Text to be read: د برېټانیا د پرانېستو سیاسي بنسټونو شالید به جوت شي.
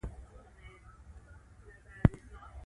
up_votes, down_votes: 0, 2